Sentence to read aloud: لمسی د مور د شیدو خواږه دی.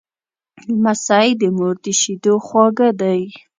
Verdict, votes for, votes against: accepted, 2, 0